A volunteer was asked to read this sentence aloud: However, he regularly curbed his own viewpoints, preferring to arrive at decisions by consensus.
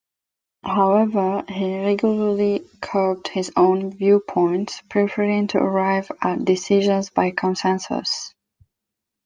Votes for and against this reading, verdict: 2, 0, accepted